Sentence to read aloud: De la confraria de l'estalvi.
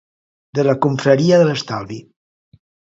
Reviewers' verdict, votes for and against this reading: accepted, 2, 0